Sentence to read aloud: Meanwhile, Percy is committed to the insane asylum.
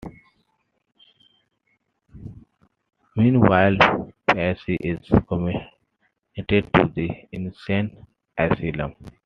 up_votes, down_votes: 0, 2